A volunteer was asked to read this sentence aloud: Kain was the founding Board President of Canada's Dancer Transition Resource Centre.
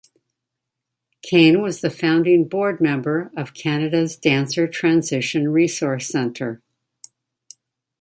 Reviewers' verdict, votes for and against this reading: rejected, 1, 2